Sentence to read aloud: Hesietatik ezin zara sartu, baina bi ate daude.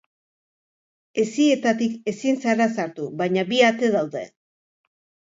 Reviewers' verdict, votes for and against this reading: accepted, 3, 0